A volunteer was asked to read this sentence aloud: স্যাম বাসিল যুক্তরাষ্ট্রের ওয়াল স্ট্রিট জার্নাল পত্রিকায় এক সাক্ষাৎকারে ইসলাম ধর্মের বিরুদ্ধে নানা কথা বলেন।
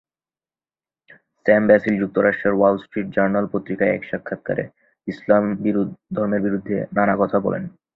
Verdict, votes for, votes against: rejected, 0, 2